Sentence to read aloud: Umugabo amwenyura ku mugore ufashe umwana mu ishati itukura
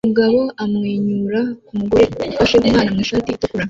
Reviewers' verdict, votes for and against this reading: rejected, 1, 3